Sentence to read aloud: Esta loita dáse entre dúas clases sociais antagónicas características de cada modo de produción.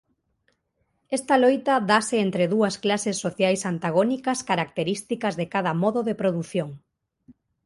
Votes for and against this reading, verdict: 2, 0, accepted